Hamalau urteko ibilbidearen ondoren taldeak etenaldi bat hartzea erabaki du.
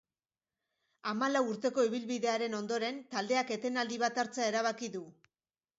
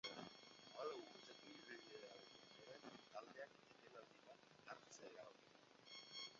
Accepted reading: first